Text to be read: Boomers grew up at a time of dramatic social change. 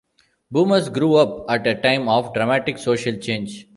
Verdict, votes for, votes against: accepted, 2, 0